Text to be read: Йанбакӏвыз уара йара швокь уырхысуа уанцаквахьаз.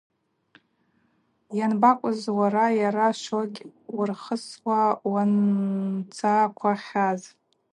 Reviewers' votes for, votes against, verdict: 2, 2, rejected